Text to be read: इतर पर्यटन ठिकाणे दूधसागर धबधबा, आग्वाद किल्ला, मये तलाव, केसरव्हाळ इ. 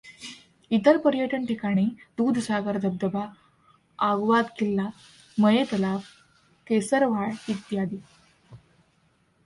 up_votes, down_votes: 1, 2